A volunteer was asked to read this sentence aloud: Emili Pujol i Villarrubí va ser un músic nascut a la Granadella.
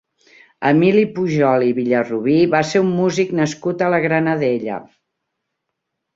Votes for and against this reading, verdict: 2, 0, accepted